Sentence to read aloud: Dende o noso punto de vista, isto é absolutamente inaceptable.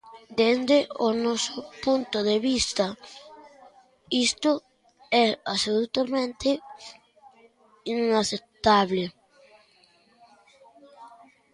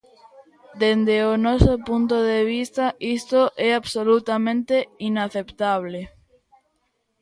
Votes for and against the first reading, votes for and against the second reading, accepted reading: 1, 2, 2, 0, second